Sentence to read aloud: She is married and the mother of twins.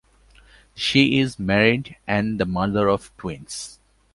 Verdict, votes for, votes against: accepted, 2, 0